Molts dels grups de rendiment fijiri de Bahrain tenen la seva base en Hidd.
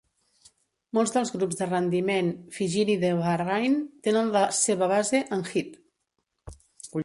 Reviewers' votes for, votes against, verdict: 2, 0, accepted